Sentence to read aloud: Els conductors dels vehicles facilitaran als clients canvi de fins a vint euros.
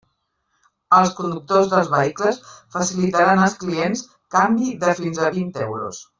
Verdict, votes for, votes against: rejected, 0, 2